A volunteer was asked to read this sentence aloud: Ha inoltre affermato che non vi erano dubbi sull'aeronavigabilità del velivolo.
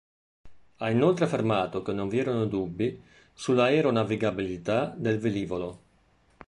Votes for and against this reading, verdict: 2, 0, accepted